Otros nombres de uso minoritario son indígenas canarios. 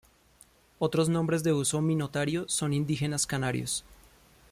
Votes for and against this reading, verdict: 0, 2, rejected